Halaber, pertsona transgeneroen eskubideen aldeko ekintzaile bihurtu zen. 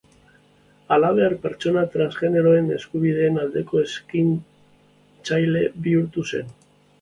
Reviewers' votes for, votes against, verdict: 0, 2, rejected